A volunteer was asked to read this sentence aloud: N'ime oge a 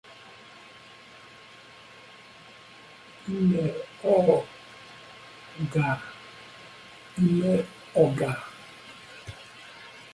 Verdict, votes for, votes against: rejected, 0, 2